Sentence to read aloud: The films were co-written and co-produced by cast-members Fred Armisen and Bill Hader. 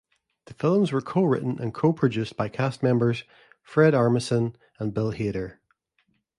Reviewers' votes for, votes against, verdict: 2, 0, accepted